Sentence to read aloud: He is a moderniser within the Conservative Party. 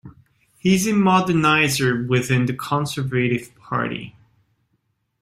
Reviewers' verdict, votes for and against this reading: accepted, 2, 1